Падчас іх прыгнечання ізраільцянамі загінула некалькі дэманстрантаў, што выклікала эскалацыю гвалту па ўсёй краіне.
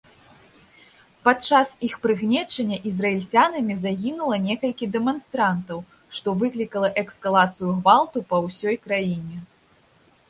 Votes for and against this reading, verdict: 1, 2, rejected